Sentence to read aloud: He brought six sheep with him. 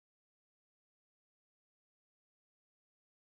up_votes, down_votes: 0, 3